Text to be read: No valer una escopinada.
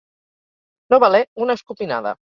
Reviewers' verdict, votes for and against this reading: accepted, 4, 0